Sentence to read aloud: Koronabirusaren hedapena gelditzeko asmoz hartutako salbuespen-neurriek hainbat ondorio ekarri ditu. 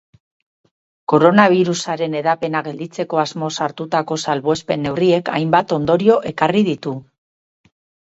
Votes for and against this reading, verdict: 4, 2, accepted